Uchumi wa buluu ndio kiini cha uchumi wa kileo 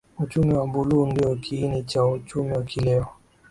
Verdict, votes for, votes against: accepted, 2, 0